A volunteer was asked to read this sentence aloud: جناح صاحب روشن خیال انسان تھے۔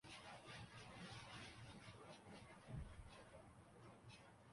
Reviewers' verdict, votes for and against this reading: rejected, 0, 2